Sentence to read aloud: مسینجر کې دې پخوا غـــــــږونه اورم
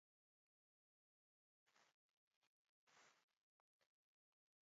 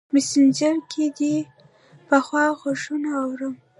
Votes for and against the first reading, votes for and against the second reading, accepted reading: 2, 0, 1, 2, first